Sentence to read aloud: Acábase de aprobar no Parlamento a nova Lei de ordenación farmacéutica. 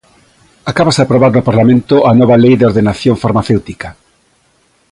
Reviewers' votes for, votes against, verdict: 1, 2, rejected